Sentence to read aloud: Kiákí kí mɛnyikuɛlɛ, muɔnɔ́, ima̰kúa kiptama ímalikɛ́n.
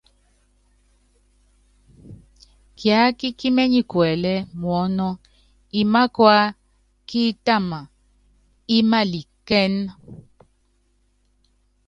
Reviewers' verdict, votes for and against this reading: rejected, 1, 2